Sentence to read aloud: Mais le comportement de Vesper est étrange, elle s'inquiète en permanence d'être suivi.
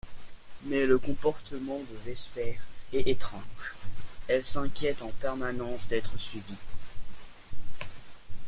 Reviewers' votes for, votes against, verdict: 0, 2, rejected